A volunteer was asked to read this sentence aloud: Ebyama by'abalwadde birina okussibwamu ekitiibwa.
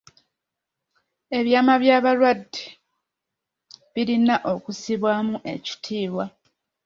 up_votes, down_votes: 2, 0